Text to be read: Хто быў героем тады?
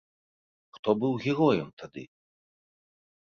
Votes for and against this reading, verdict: 2, 0, accepted